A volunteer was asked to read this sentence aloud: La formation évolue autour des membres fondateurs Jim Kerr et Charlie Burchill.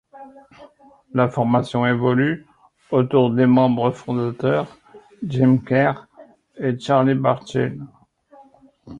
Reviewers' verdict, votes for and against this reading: rejected, 0, 2